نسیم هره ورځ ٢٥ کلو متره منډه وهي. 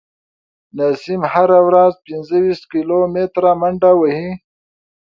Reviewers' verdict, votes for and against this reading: rejected, 0, 2